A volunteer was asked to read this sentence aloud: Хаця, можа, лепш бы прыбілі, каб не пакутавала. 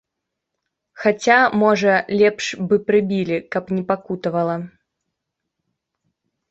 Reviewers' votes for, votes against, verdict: 2, 0, accepted